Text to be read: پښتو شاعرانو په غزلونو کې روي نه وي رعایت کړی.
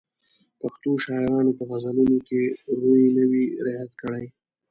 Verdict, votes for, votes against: rejected, 0, 2